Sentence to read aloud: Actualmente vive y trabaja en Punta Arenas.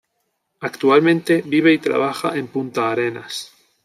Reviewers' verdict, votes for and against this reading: accepted, 3, 0